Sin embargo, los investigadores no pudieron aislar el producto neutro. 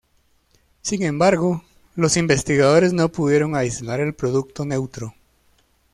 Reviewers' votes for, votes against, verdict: 2, 0, accepted